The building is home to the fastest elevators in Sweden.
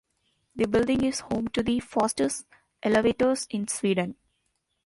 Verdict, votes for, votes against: accepted, 2, 0